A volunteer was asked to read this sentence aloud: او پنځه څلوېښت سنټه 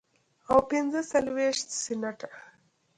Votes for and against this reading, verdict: 1, 2, rejected